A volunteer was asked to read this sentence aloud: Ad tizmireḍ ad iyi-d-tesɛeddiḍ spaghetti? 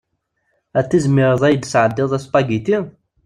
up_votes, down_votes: 2, 0